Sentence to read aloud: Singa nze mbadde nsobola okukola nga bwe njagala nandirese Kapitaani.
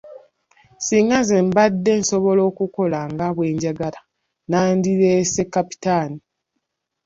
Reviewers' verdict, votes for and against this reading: rejected, 0, 2